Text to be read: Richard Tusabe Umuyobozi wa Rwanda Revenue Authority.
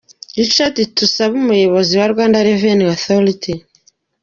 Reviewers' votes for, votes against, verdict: 2, 0, accepted